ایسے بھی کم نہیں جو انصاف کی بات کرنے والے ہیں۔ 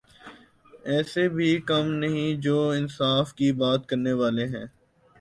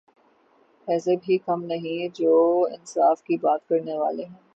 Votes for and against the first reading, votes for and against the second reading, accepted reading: 1, 2, 6, 0, second